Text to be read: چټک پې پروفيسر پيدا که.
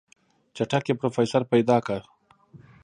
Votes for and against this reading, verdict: 2, 1, accepted